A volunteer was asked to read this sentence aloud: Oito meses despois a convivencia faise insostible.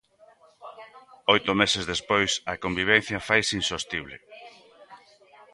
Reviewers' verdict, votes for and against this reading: rejected, 0, 2